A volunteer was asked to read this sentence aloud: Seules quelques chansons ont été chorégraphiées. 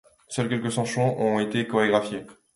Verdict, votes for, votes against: rejected, 1, 2